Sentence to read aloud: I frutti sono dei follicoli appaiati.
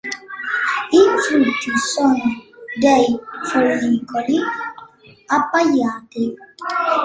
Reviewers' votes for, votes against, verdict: 2, 0, accepted